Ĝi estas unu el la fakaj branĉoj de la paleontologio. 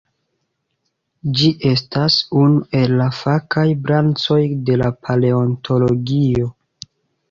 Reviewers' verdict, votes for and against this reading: accepted, 2, 1